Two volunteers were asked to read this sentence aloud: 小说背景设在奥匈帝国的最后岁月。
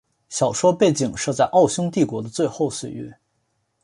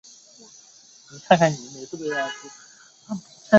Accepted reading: first